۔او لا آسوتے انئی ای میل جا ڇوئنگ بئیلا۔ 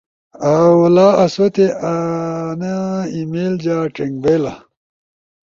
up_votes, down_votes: 2, 0